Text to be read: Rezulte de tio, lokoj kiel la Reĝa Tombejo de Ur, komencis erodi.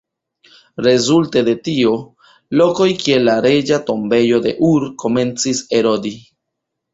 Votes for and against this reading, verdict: 0, 2, rejected